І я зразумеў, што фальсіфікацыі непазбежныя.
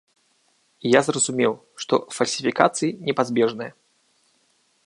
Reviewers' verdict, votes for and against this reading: accepted, 3, 0